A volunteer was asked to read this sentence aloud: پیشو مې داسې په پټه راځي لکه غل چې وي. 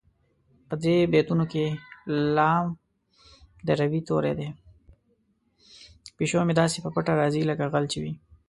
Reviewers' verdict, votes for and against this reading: rejected, 0, 2